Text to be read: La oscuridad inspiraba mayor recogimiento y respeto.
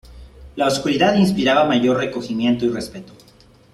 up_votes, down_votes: 2, 0